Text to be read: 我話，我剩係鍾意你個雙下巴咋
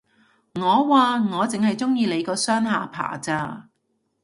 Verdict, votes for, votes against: accepted, 2, 0